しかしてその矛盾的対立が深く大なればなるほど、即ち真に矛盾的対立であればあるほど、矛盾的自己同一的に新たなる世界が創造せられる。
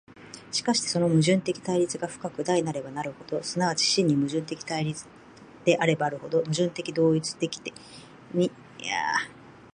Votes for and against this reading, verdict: 0, 4, rejected